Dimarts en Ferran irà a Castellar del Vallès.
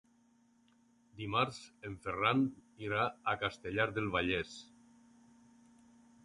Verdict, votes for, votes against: accepted, 4, 0